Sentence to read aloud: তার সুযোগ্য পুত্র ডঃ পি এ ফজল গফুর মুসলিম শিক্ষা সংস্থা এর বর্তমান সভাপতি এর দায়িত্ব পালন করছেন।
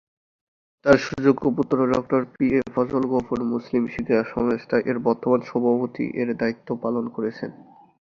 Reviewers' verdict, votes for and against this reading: accepted, 3, 1